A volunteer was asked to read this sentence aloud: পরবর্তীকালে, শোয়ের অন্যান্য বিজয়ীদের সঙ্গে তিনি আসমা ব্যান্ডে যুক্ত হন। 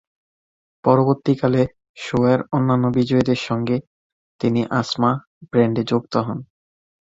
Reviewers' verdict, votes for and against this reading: rejected, 1, 2